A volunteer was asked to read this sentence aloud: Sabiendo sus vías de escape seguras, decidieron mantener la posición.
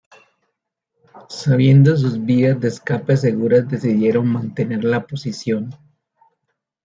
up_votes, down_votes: 2, 1